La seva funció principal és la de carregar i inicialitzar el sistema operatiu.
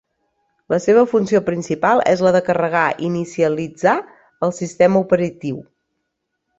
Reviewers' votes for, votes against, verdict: 1, 2, rejected